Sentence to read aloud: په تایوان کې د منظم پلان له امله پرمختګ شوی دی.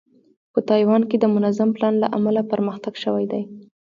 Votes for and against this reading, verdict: 2, 1, accepted